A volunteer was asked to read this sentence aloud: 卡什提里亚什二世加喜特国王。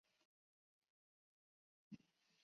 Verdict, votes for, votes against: rejected, 0, 2